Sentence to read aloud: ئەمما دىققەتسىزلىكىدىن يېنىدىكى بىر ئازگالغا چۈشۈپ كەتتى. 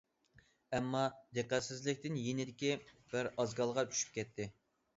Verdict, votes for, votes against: accepted, 2, 0